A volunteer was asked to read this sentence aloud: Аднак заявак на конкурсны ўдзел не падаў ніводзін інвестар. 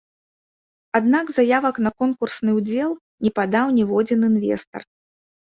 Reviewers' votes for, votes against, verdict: 2, 0, accepted